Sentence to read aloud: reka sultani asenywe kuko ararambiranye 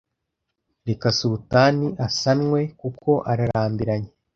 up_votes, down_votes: 1, 2